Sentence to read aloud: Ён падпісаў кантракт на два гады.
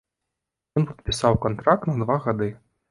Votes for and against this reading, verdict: 0, 3, rejected